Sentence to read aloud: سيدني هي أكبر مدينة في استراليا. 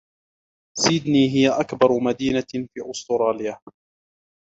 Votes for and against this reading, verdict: 0, 2, rejected